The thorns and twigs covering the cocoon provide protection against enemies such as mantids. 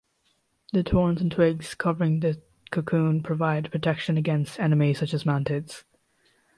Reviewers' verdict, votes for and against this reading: rejected, 0, 2